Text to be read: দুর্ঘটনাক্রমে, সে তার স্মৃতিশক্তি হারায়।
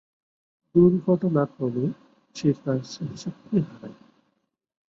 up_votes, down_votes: 3, 5